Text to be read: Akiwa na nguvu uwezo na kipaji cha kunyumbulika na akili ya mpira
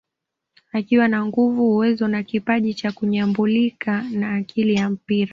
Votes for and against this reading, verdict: 2, 0, accepted